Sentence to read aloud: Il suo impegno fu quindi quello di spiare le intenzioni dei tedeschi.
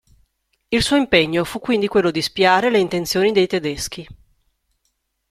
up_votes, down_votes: 2, 0